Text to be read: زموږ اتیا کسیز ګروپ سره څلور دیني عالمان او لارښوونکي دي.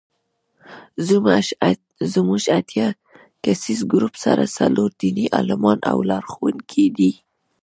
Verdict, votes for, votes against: rejected, 1, 2